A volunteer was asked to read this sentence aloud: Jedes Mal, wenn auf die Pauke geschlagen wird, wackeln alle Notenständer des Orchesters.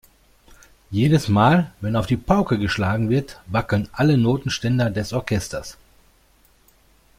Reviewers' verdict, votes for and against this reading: accepted, 2, 0